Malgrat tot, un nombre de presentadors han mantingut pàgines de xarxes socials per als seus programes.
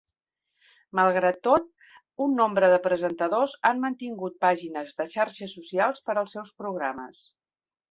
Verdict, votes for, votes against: accepted, 3, 0